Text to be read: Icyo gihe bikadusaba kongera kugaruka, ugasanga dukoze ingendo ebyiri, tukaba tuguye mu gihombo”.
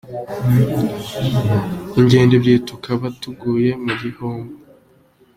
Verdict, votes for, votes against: rejected, 0, 2